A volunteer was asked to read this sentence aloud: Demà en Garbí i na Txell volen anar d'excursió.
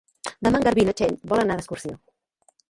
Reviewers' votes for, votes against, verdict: 1, 2, rejected